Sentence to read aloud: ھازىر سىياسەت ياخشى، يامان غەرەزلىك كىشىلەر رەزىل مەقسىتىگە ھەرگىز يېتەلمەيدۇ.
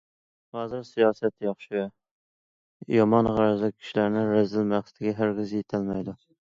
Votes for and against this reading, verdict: 1, 2, rejected